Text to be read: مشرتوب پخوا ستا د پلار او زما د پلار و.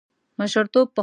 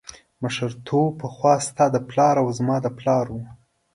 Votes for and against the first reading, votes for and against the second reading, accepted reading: 0, 2, 2, 0, second